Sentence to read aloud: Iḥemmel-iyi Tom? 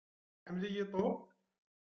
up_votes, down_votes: 1, 2